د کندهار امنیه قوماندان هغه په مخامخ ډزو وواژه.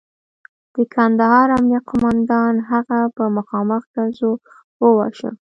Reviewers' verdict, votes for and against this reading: accepted, 2, 0